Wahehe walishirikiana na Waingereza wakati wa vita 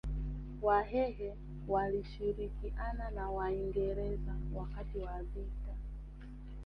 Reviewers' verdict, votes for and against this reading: rejected, 1, 2